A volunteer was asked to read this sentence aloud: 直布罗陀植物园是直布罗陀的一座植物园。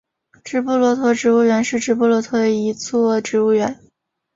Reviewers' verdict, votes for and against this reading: accepted, 3, 0